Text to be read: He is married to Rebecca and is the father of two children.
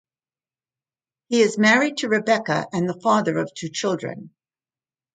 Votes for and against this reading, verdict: 1, 2, rejected